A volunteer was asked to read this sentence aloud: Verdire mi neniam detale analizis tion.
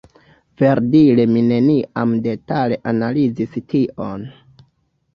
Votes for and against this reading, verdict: 1, 2, rejected